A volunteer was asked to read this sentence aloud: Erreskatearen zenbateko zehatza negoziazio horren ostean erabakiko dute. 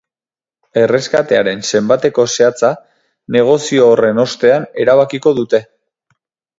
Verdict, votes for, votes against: rejected, 2, 4